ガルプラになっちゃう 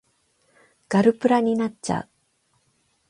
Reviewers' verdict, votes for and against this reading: rejected, 0, 8